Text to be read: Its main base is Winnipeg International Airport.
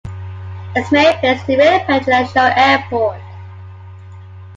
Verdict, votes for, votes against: rejected, 0, 2